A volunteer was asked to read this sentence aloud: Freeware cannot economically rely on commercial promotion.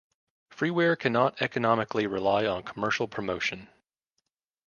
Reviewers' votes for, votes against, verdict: 2, 0, accepted